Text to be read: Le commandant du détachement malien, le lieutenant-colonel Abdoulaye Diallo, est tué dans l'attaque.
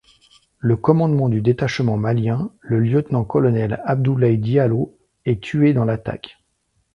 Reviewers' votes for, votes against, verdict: 1, 2, rejected